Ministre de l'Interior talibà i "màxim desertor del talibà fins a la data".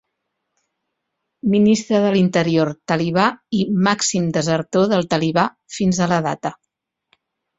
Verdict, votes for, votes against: accepted, 4, 0